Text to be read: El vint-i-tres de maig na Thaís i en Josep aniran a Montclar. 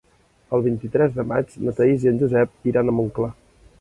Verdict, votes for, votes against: rejected, 0, 2